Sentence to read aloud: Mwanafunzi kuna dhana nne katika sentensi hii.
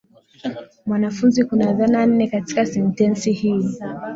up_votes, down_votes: 6, 1